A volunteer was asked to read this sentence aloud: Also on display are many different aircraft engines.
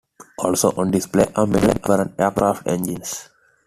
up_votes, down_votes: 2, 1